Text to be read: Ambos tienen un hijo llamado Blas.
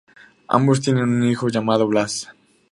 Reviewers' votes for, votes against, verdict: 4, 0, accepted